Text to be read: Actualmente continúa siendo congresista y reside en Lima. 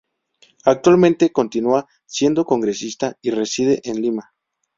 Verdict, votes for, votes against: accepted, 4, 0